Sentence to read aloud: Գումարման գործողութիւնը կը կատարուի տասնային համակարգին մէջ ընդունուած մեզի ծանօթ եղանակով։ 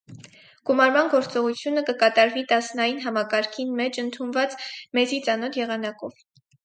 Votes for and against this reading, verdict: 2, 2, rejected